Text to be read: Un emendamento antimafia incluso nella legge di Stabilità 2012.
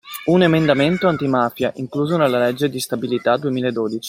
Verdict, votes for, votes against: rejected, 0, 2